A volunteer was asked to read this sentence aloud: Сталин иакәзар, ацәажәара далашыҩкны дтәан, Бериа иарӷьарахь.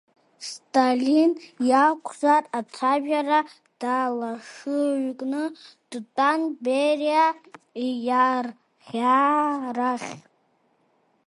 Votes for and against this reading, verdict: 0, 2, rejected